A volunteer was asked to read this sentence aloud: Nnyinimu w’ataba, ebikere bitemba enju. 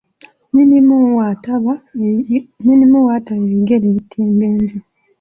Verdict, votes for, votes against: rejected, 0, 2